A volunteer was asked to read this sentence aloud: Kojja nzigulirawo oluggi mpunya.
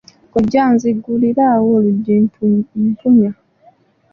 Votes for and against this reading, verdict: 1, 2, rejected